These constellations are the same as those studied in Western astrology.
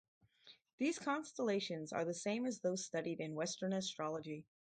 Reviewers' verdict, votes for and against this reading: accepted, 4, 0